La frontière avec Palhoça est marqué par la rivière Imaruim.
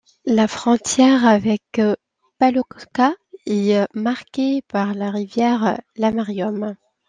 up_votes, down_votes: 0, 2